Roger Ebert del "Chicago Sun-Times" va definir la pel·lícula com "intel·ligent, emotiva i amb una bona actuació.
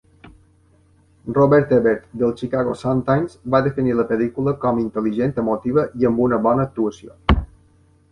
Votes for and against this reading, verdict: 0, 2, rejected